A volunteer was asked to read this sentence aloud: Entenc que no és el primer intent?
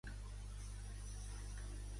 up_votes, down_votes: 0, 2